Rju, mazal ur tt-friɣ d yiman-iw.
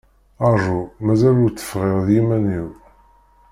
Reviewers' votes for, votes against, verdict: 1, 2, rejected